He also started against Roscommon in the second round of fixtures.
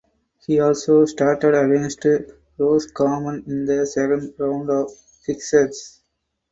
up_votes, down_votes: 0, 2